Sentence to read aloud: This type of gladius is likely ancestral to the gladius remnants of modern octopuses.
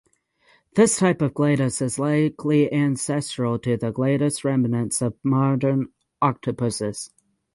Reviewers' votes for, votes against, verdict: 3, 3, rejected